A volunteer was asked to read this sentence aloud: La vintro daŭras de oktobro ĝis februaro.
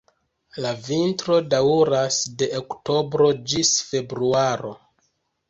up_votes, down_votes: 1, 2